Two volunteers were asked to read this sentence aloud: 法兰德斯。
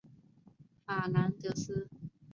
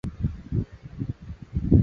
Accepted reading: first